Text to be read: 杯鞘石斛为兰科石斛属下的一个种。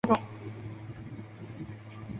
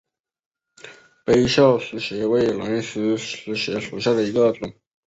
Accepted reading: second